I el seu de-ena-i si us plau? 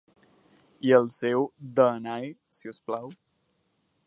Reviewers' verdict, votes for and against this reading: rejected, 2, 4